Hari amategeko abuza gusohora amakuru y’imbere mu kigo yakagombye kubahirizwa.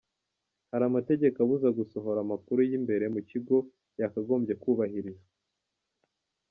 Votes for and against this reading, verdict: 2, 1, accepted